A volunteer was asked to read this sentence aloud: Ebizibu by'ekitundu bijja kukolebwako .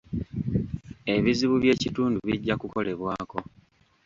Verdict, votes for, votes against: accepted, 2, 1